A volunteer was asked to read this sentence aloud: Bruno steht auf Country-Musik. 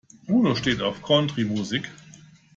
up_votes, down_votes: 2, 1